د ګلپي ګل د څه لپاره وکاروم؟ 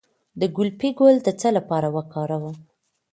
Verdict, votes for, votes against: accepted, 2, 0